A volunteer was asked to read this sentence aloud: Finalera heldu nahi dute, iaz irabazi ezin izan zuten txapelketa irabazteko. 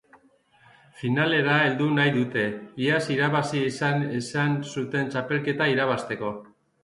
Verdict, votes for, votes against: rejected, 0, 2